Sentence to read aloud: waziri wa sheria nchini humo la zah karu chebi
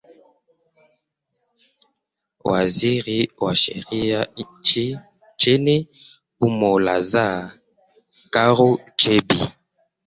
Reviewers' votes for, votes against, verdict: 0, 2, rejected